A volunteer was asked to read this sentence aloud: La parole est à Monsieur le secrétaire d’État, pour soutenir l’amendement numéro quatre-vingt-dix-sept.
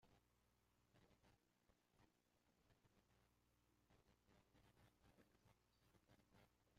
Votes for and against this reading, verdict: 0, 2, rejected